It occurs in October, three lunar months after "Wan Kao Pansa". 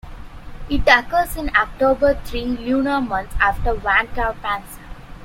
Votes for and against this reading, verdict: 2, 0, accepted